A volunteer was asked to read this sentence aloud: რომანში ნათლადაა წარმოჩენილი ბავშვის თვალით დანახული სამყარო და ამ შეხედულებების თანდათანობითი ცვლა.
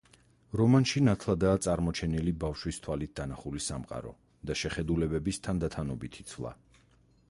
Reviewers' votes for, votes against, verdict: 2, 4, rejected